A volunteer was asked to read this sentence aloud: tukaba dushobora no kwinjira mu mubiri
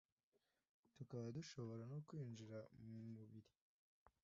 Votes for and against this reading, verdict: 2, 0, accepted